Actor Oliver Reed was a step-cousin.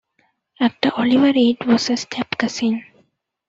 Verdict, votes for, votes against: accepted, 2, 0